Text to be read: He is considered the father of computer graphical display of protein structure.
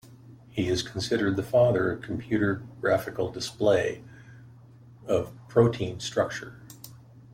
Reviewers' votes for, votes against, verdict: 2, 0, accepted